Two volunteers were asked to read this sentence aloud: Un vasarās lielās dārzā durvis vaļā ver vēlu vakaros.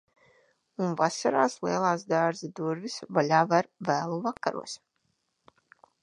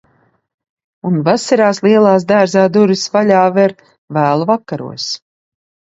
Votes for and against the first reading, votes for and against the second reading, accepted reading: 1, 2, 2, 0, second